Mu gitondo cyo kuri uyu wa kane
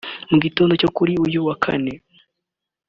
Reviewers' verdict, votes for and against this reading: accepted, 2, 0